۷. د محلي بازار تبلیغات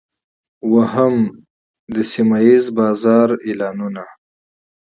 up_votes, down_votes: 0, 2